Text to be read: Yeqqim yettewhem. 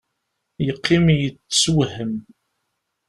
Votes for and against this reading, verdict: 0, 2, rejected